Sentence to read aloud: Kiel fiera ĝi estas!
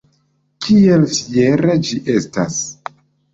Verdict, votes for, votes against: accepted, 2, 1